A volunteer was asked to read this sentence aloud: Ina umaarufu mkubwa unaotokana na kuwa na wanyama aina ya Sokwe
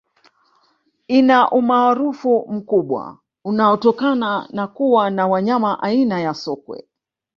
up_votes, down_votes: 1, 2